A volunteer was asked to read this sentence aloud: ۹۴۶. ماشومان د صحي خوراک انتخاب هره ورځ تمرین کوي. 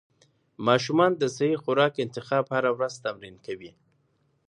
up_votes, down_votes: 0, 2